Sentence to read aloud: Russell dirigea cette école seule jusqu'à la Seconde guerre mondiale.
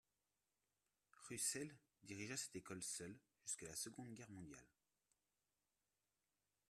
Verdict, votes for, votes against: accepted, 2, 1